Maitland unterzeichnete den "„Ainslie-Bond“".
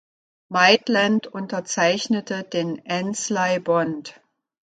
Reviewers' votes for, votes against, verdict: 1, 2, rejected